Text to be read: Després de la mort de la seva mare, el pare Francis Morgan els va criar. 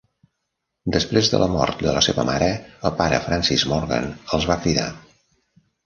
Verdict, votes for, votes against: rejected, 1, 2